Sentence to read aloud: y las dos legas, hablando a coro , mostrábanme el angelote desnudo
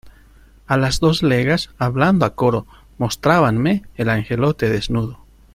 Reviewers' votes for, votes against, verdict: 1, 2, rejected